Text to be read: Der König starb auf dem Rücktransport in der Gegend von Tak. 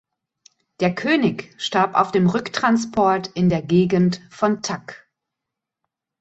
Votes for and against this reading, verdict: 2, 0, accepted